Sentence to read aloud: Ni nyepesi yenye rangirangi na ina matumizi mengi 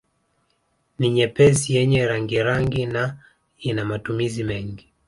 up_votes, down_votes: 2, 1